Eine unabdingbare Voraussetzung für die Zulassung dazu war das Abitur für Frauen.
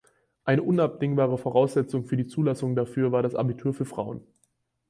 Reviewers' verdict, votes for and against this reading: rejected, 0, 4